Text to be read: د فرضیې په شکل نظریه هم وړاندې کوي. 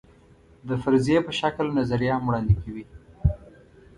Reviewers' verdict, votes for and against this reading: accepted, 2, 0